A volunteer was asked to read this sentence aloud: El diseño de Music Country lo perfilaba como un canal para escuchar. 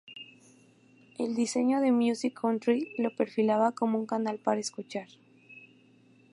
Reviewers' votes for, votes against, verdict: 4, 0, accepted